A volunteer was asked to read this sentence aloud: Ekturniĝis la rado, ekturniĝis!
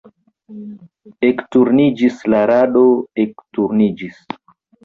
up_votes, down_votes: 2, 0